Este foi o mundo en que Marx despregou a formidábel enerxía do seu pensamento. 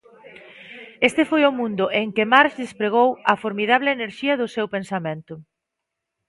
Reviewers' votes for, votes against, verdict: 0, 2, rejected